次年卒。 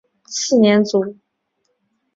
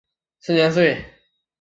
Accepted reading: first